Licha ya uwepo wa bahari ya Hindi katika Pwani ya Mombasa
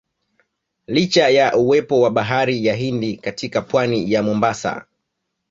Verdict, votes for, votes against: rejected, 0, 2